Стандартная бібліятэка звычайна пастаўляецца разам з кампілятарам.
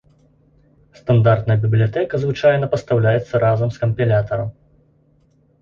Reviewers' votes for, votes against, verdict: 1, 2, rejected